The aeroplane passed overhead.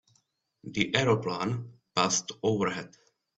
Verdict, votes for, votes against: rejected, 1, 2